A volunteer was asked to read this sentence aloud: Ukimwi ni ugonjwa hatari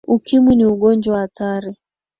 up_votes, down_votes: 2, 0